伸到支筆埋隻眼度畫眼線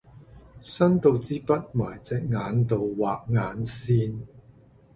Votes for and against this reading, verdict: 2, 0, accepted